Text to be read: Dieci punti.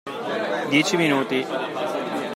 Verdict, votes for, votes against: rejected, 0, 2